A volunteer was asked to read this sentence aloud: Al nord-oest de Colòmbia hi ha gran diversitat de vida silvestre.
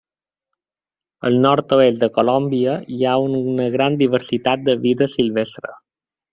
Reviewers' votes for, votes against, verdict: 0, 2, rejected